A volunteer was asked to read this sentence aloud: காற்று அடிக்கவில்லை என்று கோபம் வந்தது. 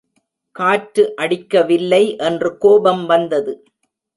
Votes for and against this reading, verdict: 2, 0, accepted